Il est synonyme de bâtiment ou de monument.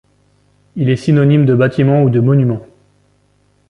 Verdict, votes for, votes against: accepted, 2, 1